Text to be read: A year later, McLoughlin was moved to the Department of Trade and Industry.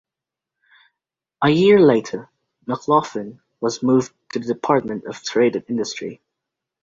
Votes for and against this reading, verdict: 2, 0, accepted